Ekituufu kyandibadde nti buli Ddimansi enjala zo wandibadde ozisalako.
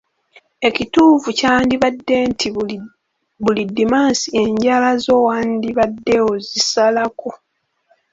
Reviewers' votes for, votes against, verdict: 1, 2, rejected